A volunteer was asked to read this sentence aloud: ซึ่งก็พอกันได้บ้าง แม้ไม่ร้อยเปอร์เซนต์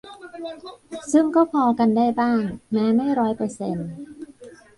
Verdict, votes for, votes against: rejected, 0, 2